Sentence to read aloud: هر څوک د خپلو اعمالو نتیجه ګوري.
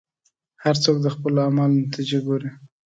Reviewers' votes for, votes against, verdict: 2, 0, accepted